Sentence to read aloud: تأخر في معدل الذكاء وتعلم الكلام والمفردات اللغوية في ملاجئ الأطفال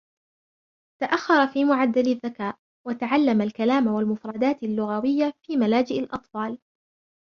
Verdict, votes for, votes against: rejected, 1, 2